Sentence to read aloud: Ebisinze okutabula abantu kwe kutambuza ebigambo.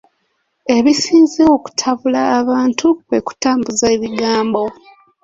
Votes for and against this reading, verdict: 2, 1, accepted